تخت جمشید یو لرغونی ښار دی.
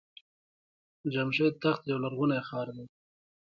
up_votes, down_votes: 1, 2